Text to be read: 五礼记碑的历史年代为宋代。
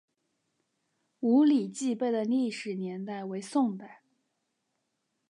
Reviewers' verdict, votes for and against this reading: accepted, 4, 0